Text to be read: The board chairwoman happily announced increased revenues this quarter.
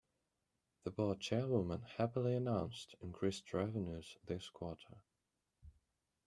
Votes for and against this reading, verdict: 2, 1, accepted